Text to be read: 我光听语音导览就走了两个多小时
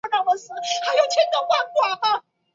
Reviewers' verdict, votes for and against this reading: rejected, 0, 3